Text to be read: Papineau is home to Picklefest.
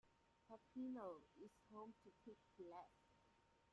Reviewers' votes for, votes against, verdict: 0, 2, rejected